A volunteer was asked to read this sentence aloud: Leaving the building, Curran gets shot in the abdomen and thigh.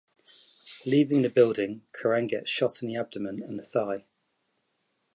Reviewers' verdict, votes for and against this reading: accepted, 2, 1